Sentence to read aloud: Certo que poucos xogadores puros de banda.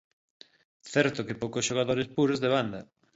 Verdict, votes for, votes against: accepted, 2, 0